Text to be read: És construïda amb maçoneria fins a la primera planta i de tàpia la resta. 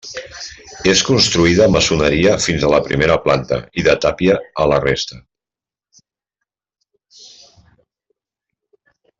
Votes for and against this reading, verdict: 0, 2, rejected